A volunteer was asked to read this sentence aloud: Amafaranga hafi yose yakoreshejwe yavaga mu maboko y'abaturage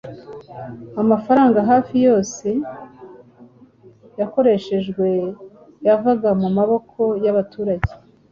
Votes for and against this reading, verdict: 2, 0, accepted